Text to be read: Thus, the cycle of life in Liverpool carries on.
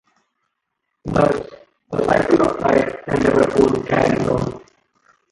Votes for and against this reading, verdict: 0, 2, rejected